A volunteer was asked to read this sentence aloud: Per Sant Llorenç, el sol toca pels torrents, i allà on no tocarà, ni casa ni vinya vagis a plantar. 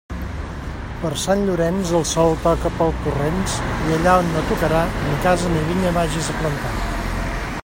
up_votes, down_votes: 2, 0